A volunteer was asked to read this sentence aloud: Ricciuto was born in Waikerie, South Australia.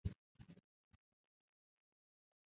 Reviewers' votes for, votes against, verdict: 0, 2, rejected